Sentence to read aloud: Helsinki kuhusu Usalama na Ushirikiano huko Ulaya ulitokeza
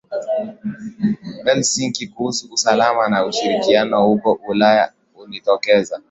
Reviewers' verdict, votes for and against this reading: accepted, 8, 1